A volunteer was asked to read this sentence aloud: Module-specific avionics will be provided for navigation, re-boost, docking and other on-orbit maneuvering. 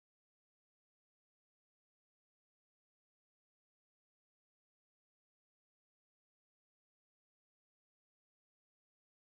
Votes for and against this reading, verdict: 0, 2, rejected